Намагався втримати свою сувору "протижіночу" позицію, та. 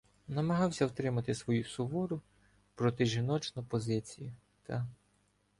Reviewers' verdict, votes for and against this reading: rejected, 0, 2